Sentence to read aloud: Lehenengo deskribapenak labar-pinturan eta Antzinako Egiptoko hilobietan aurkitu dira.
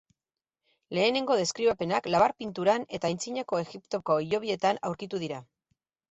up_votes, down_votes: 4, 0